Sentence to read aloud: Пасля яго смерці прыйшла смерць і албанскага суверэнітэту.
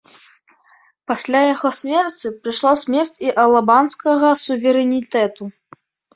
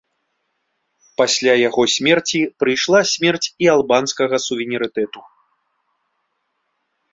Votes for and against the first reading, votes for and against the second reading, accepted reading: 1, 2, 2, 1, second